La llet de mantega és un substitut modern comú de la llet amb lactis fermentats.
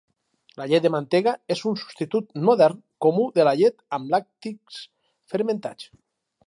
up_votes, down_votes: 2, 2